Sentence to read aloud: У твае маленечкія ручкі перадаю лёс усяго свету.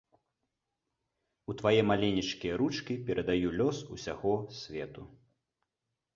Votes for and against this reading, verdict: 2, 0, accepted